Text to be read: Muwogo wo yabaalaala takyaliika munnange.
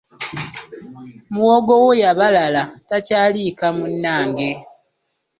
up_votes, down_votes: 1, 2